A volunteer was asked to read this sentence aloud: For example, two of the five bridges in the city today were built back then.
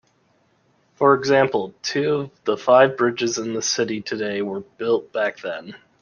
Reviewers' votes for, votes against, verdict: 2, 0, accepted